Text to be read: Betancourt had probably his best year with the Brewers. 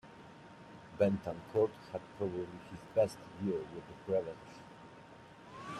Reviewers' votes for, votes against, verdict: 0, 2, rejected